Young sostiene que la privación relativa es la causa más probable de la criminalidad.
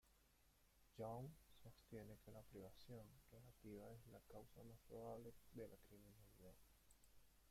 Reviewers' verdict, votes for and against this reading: rejected, 1, 2